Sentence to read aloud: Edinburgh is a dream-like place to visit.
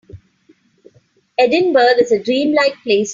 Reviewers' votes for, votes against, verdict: 1, 20, rejected